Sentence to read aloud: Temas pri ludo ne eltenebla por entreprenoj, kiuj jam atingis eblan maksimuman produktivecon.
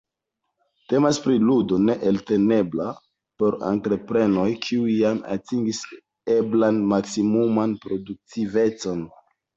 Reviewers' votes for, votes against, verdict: 1, 2, rejected